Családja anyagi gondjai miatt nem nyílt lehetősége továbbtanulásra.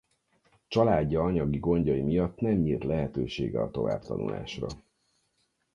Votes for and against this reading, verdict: 0, 4, rejected